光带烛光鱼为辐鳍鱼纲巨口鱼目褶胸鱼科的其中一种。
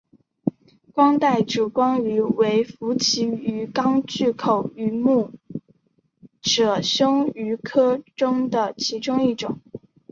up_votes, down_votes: 2, 0